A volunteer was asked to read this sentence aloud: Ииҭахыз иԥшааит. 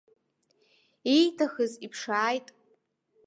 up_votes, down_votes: 1, 2